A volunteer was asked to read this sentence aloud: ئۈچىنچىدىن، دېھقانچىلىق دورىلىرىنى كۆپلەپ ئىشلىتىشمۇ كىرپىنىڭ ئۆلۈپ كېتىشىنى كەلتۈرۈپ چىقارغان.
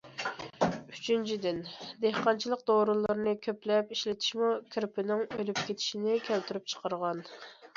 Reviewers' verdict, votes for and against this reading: accepted, 2, 0